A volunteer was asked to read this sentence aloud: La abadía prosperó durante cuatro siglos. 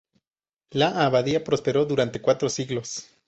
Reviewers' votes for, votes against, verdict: 2, 2, rejected